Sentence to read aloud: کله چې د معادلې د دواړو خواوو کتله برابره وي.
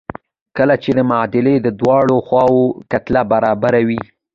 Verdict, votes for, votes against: accepted, 2, 0